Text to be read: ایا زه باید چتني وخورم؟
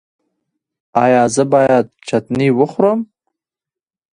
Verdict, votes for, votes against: accepted, 2, 1